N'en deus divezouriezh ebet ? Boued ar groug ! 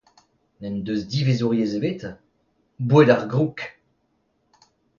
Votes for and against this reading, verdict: 2, 0, accepted